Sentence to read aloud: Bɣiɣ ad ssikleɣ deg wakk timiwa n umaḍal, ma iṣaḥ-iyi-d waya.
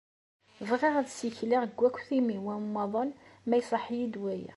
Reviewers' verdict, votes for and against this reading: accepted, 2, 0